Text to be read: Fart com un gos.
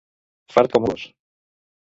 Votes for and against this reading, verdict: 0, 3, rejected